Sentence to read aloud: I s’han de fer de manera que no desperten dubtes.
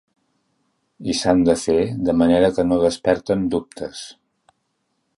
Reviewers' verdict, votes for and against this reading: accepted, 3, 0